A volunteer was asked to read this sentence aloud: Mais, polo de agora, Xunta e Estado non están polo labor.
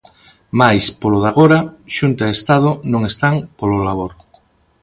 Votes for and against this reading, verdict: 2, 0, accepted